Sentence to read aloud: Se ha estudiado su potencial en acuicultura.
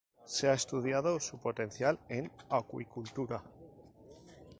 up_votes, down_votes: 2, 0